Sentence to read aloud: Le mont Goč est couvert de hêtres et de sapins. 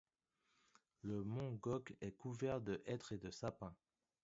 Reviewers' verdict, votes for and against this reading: rejected, 0, 2